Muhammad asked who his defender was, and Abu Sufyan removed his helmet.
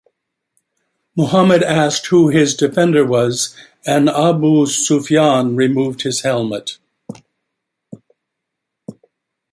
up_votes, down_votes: 2, 0